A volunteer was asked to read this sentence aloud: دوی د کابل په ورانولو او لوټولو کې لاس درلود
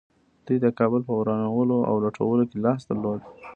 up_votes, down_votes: 1, 2